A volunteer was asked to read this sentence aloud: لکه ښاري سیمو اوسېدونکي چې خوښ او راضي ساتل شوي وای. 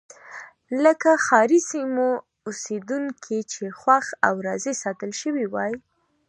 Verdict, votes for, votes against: accepted, 2, 0